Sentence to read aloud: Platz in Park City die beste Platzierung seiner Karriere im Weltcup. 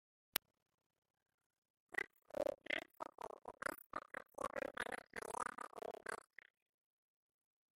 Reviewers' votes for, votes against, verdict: 0, 2, rejected